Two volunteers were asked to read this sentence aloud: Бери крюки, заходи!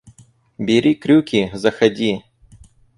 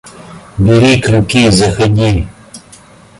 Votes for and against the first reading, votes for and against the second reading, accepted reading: 2, 2, 2, 0, second